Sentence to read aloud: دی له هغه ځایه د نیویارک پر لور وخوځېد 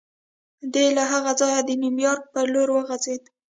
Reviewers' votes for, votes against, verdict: 1, 2, rejected